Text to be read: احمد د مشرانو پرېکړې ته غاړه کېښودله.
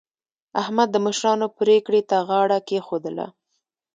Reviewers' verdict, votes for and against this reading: accepted, 2, 1